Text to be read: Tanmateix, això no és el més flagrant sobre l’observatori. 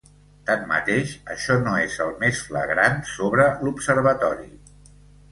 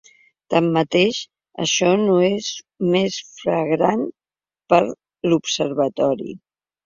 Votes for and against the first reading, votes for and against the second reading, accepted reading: 2, 0, 0, 2, first